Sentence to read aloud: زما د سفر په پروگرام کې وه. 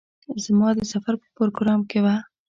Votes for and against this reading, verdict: 0, 2, rejected